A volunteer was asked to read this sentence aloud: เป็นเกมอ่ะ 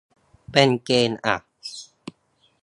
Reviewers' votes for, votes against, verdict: 0, 2, rejected